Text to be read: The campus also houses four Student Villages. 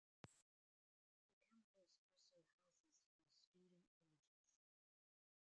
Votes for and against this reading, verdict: 0, 2, rejected